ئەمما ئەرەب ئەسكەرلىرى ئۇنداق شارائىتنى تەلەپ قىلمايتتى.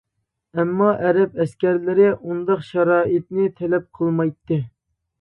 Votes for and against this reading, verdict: 2, 0, accepted